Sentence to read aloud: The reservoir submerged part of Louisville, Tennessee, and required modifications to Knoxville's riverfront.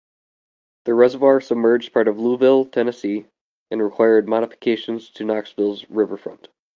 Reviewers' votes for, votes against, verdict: 2, 0, accepted